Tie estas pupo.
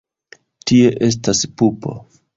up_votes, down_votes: 2, 1